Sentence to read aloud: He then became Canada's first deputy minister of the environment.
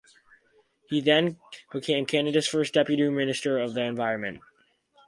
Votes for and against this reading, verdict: 4, 2, accepted